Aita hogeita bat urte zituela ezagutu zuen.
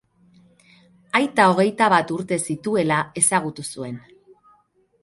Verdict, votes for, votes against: accepted, 4, 0